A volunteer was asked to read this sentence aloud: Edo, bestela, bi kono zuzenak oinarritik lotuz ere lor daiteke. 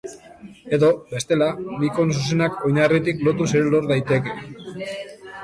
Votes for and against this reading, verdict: 1, 2, rejected